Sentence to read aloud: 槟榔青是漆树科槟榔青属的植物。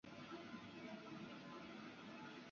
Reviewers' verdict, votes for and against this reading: rejected, 1, 4